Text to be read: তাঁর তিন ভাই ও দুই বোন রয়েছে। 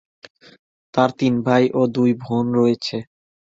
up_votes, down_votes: 0, 2